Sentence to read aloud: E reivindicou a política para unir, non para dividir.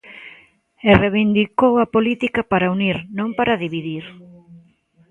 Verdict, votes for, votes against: accepted, 2, 0